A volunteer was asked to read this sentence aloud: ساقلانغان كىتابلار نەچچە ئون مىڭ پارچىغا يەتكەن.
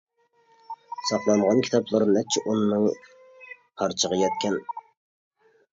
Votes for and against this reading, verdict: 0, 2, rejected